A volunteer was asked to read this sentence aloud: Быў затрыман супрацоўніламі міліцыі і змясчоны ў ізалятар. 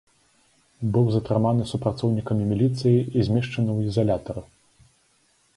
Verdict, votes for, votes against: accepted, 2, 1